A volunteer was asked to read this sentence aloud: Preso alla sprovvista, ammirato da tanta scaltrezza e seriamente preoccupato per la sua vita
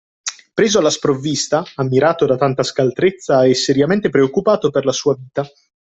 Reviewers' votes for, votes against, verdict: 2, 1, accepted